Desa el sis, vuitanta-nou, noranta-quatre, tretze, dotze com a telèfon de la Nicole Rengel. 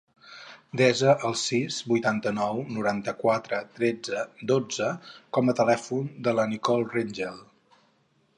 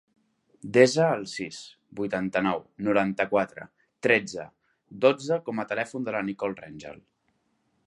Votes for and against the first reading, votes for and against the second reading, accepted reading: 0, 2, 3, 0, second